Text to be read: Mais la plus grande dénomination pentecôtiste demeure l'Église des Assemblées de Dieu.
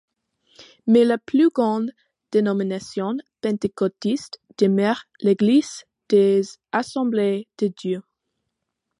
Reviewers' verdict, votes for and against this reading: accepted, 2, 0